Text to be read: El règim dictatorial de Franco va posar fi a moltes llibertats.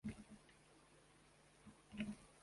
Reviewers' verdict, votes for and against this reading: rejected, 0, 2